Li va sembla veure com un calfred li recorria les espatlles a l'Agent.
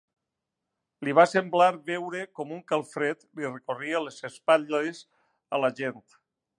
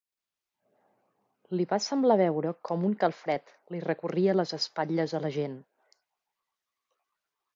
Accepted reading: second